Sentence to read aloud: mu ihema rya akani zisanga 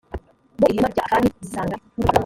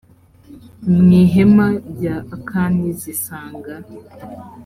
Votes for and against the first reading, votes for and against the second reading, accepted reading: 0, 2, 2, 0, second